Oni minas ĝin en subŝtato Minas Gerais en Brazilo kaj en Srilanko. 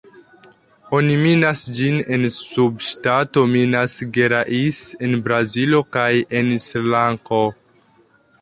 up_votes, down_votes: 2, 1